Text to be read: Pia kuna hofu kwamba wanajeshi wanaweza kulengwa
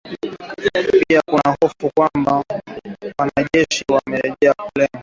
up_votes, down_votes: 0, 2